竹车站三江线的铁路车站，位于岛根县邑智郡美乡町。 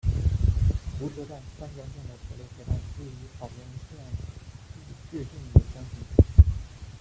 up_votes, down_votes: 0, 2